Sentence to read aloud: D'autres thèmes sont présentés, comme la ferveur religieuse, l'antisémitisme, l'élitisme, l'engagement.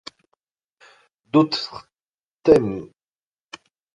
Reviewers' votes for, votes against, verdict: 0, 2, rejected